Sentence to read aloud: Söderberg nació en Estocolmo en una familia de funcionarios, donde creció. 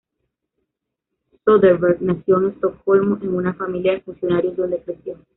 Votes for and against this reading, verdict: 1, 2, rejected